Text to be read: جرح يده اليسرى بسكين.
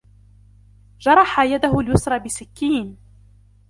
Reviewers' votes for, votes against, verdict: 2, 0, accepted